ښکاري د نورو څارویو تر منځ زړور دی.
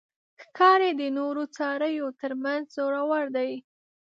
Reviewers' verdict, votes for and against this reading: accepted, 2, 1